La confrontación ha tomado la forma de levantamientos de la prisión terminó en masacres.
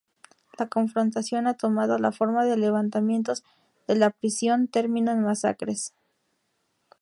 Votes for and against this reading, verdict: 0, 2, rejected